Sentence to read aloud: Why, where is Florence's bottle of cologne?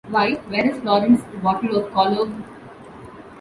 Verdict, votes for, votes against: accepted, 2, 0